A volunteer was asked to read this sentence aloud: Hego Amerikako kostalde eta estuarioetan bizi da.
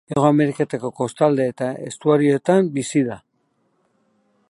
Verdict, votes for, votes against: accepted, 4, 0